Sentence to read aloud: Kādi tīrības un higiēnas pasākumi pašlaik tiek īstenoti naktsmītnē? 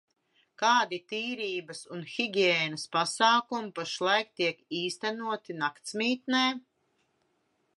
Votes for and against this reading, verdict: 2, 0, accepted